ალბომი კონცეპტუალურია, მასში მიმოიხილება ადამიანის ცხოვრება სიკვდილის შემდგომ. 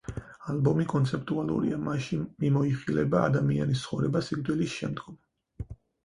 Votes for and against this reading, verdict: 4, 0, accepted